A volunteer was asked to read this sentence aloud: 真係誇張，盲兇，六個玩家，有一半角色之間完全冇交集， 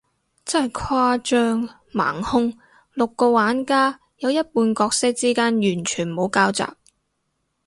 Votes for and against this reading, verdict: 4, 0, accepted